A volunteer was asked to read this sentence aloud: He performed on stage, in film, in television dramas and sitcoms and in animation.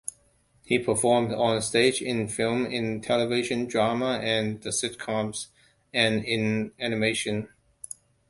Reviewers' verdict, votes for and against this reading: rejected, 0, 2